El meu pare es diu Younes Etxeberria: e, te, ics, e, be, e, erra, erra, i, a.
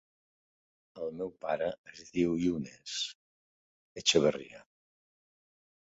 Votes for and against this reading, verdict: 1, 2, rejected